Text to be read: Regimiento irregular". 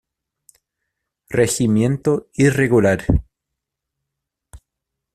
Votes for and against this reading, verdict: 2, 1, accepted